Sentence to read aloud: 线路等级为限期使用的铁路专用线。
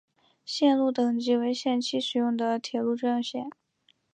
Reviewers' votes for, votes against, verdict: 3, 1, accepted